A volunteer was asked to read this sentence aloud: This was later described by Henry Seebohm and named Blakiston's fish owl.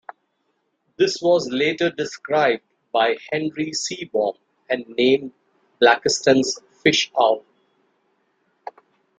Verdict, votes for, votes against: accepted, 2, 0